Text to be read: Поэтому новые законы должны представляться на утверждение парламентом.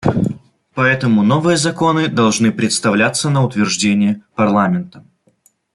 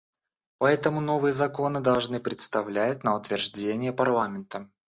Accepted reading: first